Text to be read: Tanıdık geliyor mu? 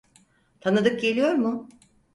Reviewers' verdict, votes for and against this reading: accepted, 4, 0